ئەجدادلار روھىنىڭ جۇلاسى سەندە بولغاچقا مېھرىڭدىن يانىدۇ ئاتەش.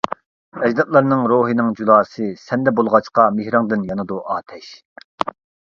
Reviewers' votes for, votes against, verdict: 0, 2, rejected